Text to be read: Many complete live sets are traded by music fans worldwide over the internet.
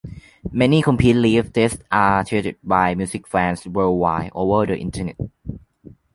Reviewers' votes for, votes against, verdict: 0, 2, rejected